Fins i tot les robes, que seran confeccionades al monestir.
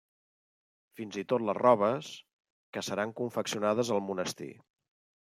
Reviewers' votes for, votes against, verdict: 3, 0, accepted